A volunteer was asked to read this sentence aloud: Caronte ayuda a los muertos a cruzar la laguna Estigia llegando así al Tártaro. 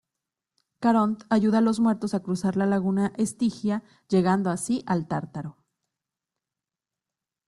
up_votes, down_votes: 1, 2